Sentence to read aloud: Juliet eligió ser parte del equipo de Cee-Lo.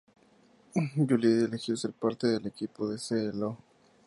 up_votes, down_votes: 2, 0